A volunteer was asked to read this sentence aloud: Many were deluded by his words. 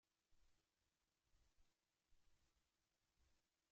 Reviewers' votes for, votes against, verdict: 0, 2, rejected